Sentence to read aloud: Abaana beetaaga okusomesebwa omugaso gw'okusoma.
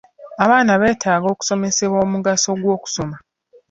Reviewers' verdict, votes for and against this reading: accepted, 2, 0